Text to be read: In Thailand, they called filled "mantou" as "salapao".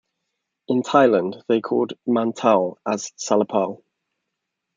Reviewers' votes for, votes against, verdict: 0, 3, rejected